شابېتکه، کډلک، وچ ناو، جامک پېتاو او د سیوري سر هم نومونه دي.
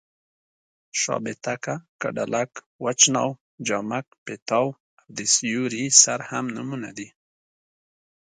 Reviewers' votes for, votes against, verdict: 2, 0, accepted